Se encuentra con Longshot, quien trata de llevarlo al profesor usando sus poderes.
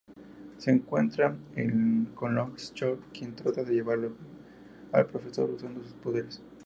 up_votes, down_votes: 2, 2